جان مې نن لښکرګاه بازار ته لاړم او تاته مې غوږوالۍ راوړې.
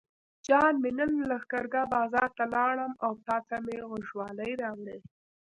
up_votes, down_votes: 2, 0